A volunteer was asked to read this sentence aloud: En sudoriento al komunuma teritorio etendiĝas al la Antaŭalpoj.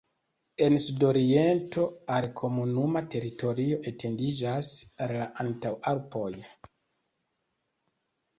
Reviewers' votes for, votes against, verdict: 0, 2, rejected